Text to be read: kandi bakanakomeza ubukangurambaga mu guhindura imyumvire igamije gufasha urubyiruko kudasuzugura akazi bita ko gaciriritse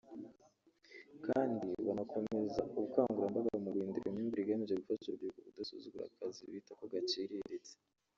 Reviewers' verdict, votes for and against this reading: rejected, 1, 2